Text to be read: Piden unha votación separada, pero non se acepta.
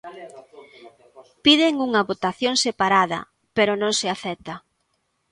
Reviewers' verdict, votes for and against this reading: rejected, 1, 2